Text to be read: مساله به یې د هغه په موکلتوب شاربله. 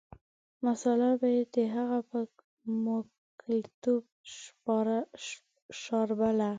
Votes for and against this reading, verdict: 0, 2, rejected